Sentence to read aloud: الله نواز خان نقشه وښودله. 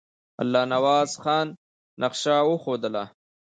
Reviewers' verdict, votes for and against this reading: accepted, 2, 0